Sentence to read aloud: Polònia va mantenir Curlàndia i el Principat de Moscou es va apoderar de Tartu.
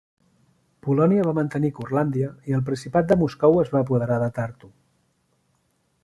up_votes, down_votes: 2, 0